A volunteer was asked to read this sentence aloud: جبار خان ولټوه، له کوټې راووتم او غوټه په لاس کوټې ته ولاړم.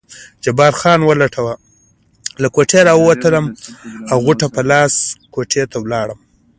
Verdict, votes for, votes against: rejected, 0, 2